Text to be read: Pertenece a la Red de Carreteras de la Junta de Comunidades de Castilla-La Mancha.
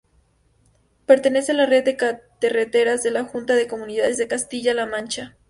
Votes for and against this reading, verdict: 2, 0, accepted